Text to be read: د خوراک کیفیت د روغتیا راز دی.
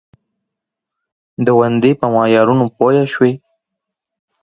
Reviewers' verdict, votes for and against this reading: rejected, 0, 2